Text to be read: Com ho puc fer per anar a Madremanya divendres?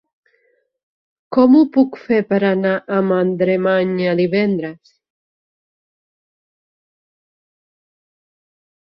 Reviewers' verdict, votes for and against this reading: rejected, 1, 2